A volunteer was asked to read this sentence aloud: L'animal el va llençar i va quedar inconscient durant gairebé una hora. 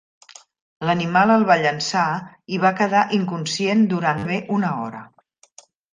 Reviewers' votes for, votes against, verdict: 0, 2, rejected